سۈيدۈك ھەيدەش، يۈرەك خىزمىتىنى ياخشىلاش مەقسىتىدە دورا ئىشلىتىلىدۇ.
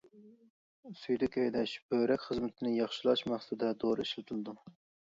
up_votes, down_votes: 0, 2